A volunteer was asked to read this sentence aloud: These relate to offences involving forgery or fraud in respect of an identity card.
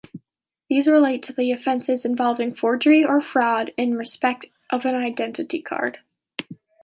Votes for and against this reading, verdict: 1, 2, rejected